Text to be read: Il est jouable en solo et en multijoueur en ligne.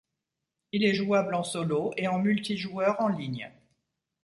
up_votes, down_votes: 2, 0